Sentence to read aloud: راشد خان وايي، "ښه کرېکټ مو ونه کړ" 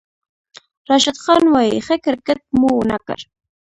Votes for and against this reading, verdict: 2, 0, accepted